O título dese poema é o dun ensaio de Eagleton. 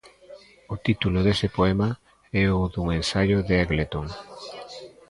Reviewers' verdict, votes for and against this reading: rejected, 1, 2